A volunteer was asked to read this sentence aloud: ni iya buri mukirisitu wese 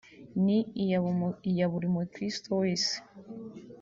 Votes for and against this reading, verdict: 0, 2, rejected